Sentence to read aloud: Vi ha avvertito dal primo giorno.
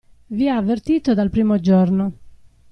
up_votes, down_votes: 2, 0